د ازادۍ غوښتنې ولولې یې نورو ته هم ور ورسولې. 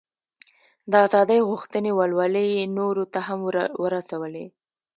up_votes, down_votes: 0, 2